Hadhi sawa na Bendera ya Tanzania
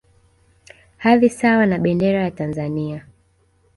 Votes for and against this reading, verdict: 0, 2, rejected